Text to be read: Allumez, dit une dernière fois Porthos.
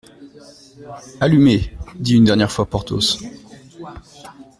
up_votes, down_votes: 2, 0